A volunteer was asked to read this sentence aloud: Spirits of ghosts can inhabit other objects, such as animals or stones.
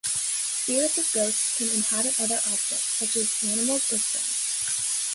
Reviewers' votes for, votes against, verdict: 1, 2, rejected